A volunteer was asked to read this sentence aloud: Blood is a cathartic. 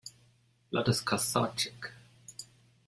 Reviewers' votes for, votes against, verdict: 1, 2, rejected